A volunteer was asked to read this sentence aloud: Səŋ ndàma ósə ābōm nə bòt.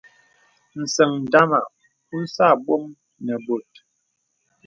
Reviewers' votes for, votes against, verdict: 2, 0, accepted